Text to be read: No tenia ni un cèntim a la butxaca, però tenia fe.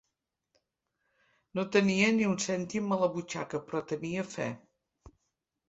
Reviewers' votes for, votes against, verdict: 2, 0, accepted